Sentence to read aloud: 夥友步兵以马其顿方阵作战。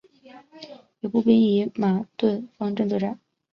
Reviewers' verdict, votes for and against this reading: rejected, 3, 3